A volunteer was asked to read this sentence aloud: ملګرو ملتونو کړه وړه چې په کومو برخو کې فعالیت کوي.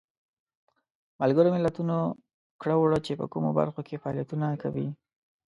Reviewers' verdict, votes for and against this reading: rejected, 1, 2